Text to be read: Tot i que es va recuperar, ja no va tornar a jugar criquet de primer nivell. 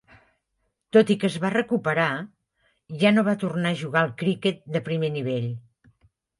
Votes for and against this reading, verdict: 0, 2, rejected